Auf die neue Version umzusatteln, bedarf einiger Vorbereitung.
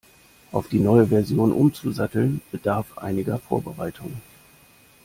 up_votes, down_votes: 2, 0